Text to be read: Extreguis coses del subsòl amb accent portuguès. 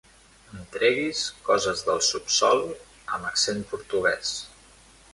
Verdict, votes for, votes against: rejected, 1, 2